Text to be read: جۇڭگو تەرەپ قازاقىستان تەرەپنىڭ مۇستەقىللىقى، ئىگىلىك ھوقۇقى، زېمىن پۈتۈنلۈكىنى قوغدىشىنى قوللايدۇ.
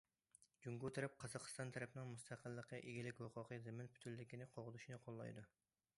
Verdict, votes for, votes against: accepted, 2, 0